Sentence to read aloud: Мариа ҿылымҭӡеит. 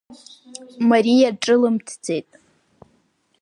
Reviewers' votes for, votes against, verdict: 2, 0, accepted